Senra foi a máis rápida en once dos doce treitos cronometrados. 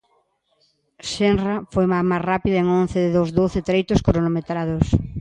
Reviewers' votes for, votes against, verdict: 0, 2, rejected